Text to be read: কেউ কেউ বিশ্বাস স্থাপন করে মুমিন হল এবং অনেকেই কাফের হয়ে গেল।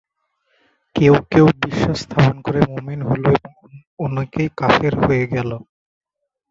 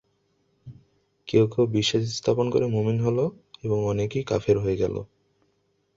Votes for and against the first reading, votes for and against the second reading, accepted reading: 0, 2, 2, 0, second